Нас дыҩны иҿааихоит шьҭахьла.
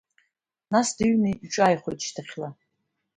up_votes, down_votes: 2, 0